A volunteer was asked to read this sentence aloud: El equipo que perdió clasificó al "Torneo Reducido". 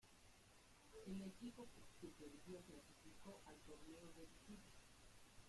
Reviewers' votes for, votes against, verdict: 0, 2, rejected